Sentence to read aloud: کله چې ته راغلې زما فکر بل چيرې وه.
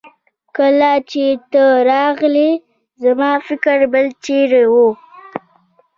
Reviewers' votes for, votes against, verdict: 2, 1, accepted